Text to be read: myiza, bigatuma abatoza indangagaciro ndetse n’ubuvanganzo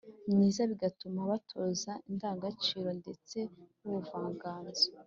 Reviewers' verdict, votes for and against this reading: accepted, 2, 0